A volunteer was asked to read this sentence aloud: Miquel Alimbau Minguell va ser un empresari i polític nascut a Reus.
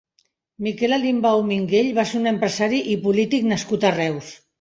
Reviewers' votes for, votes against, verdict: 2, 0, accepted